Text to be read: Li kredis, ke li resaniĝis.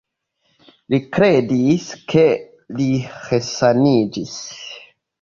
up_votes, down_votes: 2, 0